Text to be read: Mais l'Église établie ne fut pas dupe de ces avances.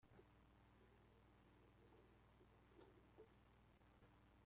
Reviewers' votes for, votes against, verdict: 0, 2, rejected